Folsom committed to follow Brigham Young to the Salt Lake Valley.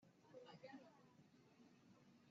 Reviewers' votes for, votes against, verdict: 0, 2, rejected